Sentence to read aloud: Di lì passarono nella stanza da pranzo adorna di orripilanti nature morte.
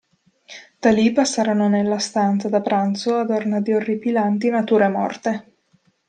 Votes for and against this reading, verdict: 1, 2, rejected